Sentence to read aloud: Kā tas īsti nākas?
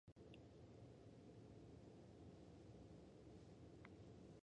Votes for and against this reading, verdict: 0, 2, rejected